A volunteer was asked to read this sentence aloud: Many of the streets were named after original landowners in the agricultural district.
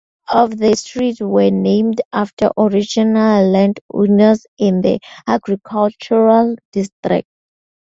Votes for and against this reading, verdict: 0, 4, rejected